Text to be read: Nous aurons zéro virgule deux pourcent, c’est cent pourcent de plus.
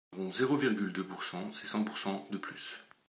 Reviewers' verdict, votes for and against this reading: rejected, 1, 2